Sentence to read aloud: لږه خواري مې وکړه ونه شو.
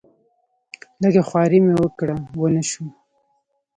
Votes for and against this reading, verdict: 2, 0, accepted